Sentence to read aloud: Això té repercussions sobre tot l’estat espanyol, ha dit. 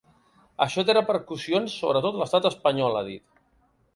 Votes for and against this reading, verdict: 2, 0, accepted